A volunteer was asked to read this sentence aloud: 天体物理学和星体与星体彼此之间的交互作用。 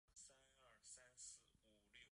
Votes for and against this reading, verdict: 2, 1, accepted